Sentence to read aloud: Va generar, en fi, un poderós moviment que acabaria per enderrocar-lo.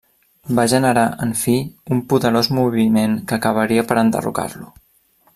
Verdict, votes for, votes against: accepted, 2, 0